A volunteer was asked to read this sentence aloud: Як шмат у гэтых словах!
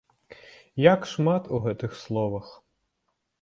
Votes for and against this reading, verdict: 2, 0, accepted